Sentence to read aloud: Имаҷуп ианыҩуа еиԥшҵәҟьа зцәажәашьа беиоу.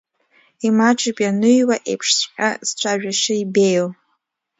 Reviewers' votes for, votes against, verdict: 0, 2, rejected